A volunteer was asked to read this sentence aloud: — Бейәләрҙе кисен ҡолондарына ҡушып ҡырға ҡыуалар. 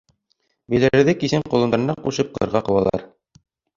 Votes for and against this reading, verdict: 2, 3, rejected